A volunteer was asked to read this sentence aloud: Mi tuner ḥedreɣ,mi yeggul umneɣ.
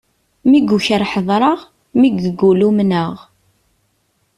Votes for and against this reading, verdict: 1, 2, rejected